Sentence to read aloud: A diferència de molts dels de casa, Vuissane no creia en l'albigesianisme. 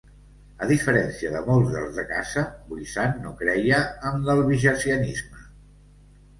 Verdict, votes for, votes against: accepted, 2, 0